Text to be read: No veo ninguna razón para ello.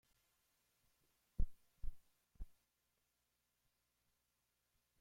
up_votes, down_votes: 0, 2